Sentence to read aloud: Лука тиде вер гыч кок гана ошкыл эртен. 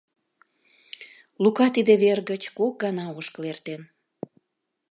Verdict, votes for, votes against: accepted, 2, 0